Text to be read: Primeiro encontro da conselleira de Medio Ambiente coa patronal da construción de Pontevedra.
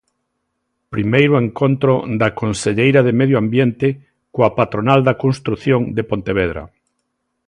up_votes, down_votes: 2, 0